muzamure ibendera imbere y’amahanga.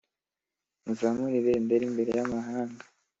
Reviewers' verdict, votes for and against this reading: accepted, 2, 0